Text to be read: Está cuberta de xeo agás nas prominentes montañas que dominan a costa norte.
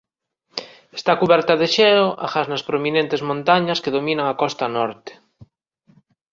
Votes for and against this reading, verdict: 2, 0, accepted